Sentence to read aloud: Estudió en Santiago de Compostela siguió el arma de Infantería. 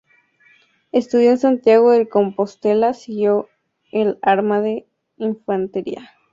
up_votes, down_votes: 2, 0